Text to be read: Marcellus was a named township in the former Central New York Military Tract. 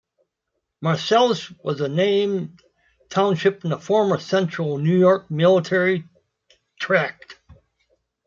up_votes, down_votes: 2, 0